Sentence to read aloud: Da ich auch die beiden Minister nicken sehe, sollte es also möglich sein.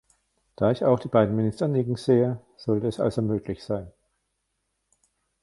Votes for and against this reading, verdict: 1, 2, rejected